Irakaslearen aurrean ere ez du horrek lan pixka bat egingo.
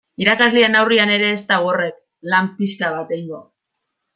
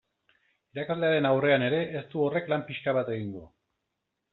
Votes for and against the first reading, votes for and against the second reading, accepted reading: 1, 2, 2, 0, second